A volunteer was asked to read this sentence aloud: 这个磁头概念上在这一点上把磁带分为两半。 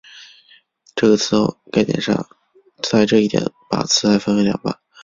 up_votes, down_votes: 1, 2